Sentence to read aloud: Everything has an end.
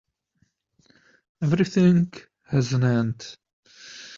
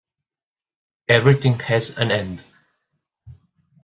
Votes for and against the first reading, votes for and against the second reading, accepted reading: 0, 2, 2, 0, second